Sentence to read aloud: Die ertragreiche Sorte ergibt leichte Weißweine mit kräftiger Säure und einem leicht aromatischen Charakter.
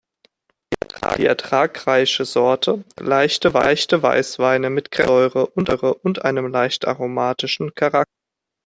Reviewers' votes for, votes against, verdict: 0, 2, rejected